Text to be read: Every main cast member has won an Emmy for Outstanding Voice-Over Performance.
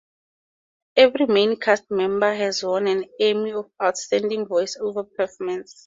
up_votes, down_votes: 4, 0